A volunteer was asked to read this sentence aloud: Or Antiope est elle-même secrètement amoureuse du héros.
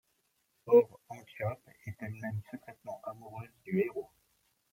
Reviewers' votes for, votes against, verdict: 1, 2, rejected